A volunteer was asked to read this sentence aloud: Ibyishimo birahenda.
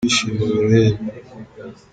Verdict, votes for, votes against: rejected, 0, 2